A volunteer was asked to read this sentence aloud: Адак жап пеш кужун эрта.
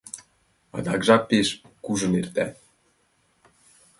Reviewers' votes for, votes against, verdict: 2, 0, accepted